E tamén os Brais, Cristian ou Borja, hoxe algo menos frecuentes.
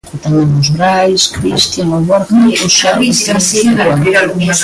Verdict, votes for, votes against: rejected, 0, 2